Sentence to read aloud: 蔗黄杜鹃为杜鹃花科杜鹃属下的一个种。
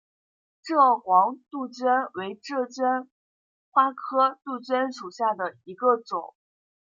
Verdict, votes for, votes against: accepted, 2, 1